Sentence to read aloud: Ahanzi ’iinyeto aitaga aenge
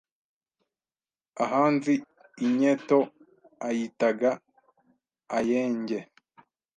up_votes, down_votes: 1, 2